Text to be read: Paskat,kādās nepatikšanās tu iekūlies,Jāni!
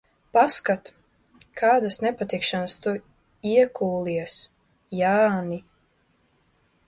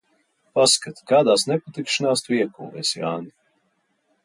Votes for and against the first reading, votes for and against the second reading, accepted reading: 0, 2, 2, 0, second